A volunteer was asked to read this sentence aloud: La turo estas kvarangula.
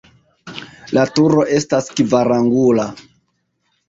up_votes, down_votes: 1, 2